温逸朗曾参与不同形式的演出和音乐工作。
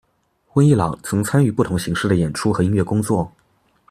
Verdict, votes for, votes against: accepted, 2, 0